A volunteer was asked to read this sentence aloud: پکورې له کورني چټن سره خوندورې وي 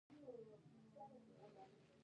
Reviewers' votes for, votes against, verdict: 1, 2, rejected